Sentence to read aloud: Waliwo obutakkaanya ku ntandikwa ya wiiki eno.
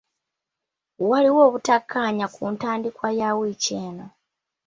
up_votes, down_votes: 2, 0